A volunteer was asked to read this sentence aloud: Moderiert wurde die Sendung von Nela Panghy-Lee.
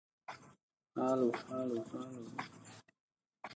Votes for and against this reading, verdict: 0, 2, rejected